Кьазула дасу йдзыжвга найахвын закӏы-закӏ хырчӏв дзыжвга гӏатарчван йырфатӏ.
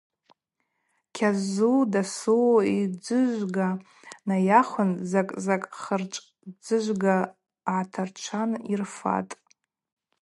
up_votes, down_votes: 0, 2